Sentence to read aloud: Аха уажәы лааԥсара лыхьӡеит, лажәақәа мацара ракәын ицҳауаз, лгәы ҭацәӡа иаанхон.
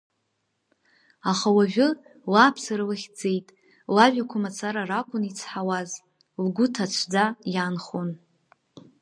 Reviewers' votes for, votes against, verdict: 1, 2, rejected